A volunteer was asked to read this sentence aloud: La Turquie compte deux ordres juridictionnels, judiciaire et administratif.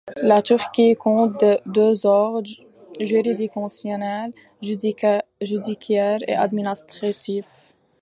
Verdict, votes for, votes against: rejected, 1, 2